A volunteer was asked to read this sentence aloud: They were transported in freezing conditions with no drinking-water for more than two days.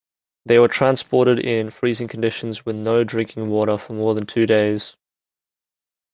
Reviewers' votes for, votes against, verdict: 2, 0, accepted